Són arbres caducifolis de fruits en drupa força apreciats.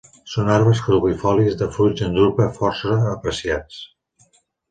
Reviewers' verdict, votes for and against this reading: rejected, 1, 2